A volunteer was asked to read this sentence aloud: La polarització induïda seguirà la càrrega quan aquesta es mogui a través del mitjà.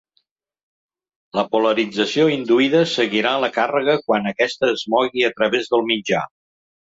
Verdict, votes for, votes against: accepted, 2, 0